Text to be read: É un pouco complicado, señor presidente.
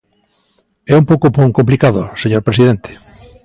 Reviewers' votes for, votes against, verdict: 0, 2, rejected